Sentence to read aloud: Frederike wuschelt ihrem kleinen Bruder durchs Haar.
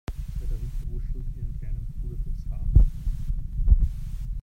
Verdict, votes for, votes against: rejected, 0, 2